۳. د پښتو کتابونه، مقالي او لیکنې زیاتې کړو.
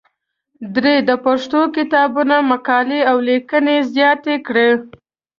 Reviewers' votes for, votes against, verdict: 0, 2, rejected